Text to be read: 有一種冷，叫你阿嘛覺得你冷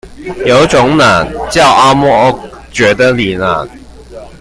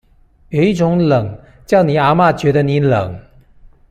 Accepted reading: second